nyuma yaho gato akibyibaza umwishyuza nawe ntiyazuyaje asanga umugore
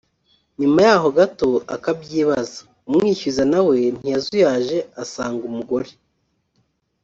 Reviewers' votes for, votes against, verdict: 0, 2, rejected